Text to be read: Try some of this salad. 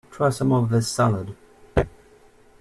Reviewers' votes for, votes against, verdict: 2, 0, accepted